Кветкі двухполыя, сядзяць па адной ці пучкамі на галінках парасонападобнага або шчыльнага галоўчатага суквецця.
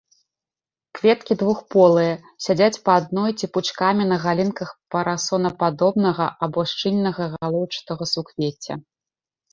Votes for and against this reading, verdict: 2, 1, accepted